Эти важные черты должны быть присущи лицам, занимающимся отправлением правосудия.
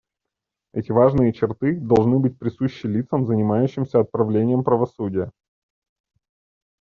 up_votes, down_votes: 2, 0